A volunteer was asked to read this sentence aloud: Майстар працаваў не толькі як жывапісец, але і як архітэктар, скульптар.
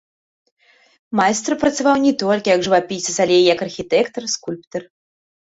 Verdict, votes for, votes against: rejected, 0, 2